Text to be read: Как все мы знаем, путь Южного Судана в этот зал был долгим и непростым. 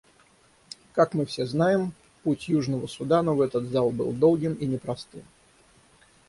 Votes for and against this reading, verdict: 0, 6, rejected